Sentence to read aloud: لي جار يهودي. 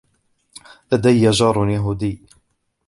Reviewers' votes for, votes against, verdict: 0, 2, rejected